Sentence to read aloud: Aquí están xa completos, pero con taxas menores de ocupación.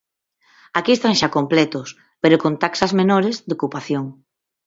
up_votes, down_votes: 0, 4